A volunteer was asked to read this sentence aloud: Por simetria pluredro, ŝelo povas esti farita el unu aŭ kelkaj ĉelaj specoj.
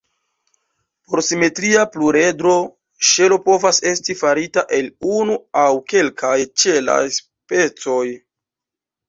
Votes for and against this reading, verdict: 1, 2, rejected